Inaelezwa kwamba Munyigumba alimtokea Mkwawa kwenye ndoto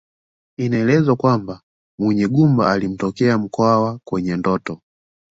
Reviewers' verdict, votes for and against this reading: accepted, 2, 0